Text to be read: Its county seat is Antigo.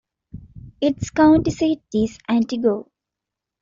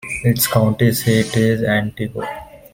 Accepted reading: second